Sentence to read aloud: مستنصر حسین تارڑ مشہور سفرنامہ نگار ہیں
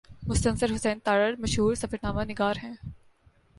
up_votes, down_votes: 2, 0